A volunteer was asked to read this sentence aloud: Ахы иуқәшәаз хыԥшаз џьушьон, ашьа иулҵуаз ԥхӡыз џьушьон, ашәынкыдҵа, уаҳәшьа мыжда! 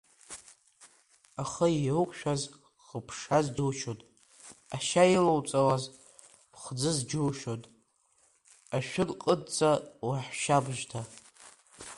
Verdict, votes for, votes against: rejected, 0, 2